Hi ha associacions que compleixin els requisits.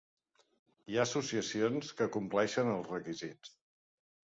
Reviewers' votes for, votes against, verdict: 1, 2, rejected